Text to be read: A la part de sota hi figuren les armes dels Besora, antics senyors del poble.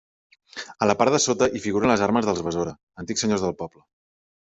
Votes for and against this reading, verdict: 3, 1, accepted